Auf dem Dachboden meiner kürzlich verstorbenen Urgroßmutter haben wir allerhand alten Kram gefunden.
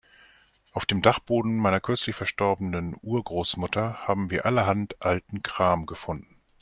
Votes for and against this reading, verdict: 2, 0, accepted